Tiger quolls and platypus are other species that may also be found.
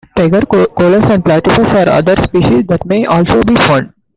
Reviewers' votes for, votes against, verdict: 0, 2, rejected